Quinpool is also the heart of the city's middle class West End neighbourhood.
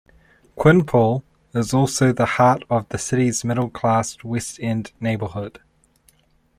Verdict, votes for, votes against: accepted, 2, 0